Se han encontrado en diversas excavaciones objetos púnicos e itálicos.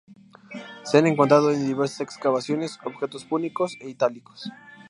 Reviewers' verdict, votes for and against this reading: accepted, 2, 0